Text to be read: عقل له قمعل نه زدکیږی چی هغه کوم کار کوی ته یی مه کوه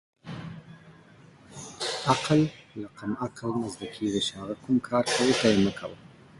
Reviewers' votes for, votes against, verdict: 2, 0, accepted